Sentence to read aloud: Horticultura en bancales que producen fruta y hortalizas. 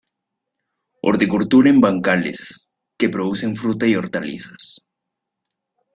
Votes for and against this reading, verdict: 0, 2, rejected